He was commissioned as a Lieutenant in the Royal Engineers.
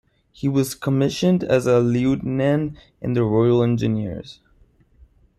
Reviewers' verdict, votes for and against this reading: accepted, 2, 1